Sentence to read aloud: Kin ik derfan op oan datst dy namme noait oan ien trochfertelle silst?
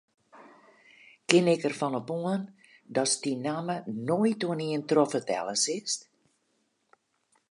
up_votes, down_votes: 2, 2